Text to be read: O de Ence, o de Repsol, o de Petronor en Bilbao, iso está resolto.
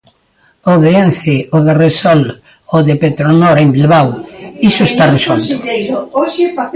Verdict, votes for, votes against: rejected, 0, 2